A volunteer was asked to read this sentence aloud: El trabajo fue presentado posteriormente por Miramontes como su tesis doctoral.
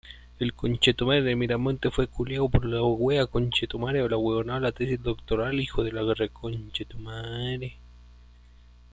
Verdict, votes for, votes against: rejected, 0, 2